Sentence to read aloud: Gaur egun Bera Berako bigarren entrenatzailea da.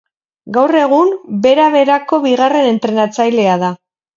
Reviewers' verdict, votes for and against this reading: rejected, 2, 2